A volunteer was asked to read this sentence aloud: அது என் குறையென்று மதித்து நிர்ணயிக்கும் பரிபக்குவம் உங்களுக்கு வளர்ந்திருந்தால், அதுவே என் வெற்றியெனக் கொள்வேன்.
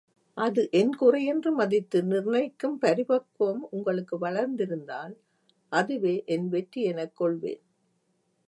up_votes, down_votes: 2, 0